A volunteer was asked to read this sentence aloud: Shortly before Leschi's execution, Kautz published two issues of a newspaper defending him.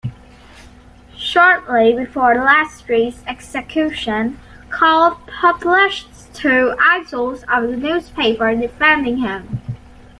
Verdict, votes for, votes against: accepted, 2, 1